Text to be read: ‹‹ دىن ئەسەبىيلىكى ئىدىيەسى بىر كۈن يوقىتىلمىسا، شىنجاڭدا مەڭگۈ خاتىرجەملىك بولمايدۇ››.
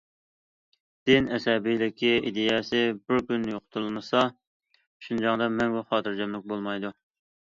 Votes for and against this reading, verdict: 2, 0, accepted